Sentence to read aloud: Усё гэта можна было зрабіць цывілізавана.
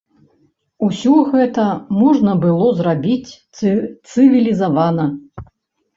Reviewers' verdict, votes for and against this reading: rejected, 1, 2